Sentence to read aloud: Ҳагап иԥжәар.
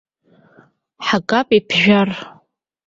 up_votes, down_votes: 2, 1